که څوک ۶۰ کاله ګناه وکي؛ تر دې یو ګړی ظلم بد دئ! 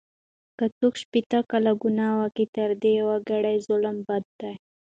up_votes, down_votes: 0, 2